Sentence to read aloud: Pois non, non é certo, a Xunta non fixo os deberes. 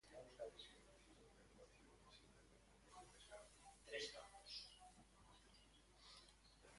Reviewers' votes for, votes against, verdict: 0, 2, rejected